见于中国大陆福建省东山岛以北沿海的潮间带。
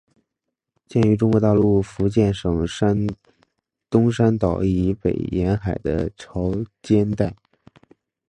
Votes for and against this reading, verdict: 4, 1, accepted